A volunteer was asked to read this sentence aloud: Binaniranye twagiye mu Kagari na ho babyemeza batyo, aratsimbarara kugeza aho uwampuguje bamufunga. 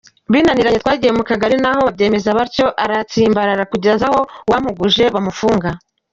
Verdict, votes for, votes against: accepted, 2, 1